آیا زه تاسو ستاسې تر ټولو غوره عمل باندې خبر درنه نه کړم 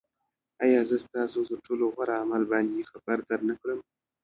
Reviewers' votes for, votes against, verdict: 1, 2, rejected